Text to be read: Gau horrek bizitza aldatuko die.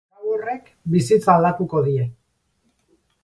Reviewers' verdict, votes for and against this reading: rejected, 0, 4